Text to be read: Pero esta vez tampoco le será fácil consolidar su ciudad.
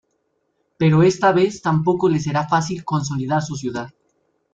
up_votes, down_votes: 2, 0